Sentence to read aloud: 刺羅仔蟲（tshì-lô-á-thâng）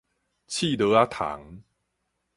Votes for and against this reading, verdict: 4, 0, accepted